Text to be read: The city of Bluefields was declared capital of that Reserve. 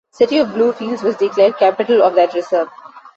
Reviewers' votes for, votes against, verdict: 2, 0, accepted